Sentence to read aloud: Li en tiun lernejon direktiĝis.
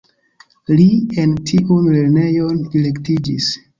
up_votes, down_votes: 1, 2